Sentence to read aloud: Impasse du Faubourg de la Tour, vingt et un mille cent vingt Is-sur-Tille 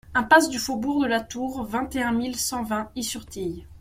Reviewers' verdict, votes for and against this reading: accepted, 2, 0